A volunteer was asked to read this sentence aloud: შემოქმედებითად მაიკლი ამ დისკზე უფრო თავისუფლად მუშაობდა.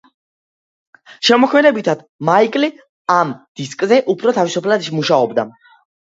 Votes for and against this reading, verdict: 2, 1, accepted